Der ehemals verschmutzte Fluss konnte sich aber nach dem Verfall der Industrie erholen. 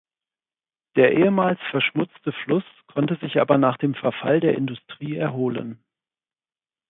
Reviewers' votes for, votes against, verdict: 4, 0, accepted